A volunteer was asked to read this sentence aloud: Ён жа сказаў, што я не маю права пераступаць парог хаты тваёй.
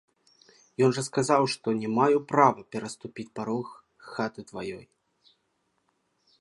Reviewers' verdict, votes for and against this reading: rejected, 1, 2